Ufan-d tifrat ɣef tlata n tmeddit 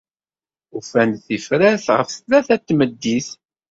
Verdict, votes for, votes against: accepted, 2, 0